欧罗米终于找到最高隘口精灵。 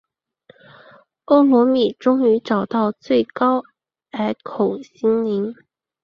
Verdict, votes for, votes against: accepted, 3, 1